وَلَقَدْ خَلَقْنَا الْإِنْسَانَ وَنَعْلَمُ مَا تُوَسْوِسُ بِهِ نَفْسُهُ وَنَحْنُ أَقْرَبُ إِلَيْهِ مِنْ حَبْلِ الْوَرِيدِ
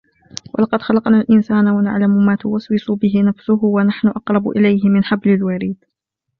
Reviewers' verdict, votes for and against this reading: accepted, 2, 1